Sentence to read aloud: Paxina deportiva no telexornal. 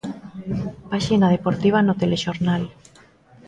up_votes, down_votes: 2, 0